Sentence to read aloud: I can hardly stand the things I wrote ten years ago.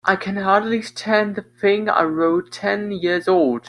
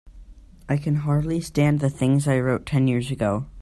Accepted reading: second